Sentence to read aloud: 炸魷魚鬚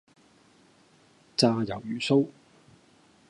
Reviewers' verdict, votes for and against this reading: rejected, 0, 2